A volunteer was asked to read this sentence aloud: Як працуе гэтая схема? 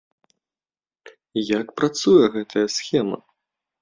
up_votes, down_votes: 2, 0